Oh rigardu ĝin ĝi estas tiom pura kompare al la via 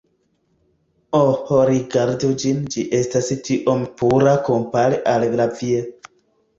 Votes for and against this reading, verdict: 1, 2, rejected